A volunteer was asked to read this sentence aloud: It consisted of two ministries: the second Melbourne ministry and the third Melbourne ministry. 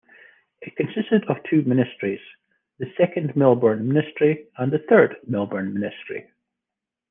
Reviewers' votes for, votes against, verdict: 2, 0, accepted